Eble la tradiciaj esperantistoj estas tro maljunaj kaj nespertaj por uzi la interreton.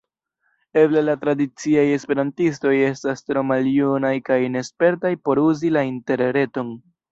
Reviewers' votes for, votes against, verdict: 0, 2, rejected